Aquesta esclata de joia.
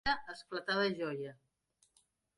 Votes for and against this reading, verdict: 0, 2, rejected